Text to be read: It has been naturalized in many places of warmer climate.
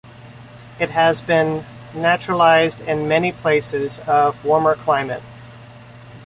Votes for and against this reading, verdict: 2, 0, accepted